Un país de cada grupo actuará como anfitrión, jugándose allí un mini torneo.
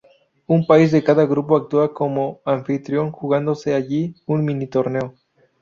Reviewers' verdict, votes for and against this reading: rejected, 2, 2